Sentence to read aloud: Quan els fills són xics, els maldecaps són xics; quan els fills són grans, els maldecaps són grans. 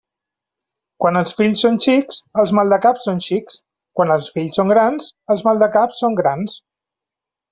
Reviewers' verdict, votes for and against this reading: accepted, 3, 0